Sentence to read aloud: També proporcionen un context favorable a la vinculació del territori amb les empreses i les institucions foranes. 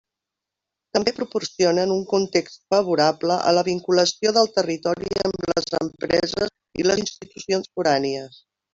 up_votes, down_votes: 0, 2